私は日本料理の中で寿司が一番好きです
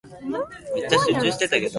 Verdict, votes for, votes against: rejected, 0, 2